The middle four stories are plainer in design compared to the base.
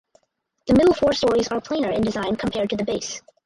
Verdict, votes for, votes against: rejected, 0, 4